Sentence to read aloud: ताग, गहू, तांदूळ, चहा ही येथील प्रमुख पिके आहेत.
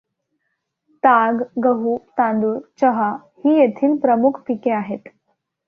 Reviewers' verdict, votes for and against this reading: accepted, 2, 1